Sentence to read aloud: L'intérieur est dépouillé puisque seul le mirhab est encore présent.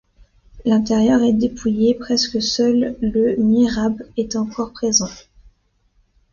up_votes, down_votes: 0, 2